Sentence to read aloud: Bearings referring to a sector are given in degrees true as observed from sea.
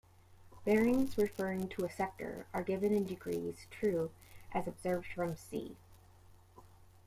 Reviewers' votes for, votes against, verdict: 1, 2, rejected